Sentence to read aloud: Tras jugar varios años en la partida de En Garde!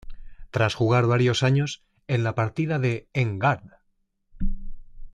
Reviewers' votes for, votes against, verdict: 2, 0, accepted